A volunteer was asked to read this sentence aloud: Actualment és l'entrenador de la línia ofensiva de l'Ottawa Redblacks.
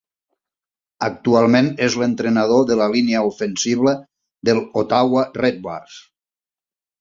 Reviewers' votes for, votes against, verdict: 2, 1, accepted